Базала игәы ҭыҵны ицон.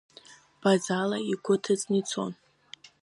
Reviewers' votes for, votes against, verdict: 2, 0, accepted